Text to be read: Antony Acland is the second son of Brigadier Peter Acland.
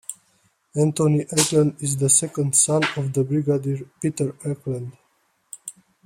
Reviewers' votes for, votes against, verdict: 0, 2, rejected